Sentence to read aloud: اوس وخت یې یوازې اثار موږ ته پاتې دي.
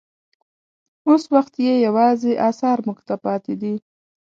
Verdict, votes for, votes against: accepted, 2, 0